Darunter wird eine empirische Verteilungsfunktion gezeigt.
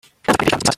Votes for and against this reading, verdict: 0, 2, rejected